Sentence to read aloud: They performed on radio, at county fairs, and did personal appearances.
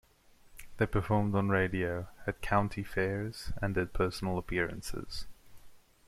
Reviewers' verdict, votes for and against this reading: accepted, 2, 0